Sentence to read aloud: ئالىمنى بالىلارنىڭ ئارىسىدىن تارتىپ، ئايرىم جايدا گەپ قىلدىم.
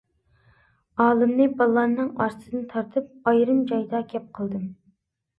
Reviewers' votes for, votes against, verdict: 2, 0, accepted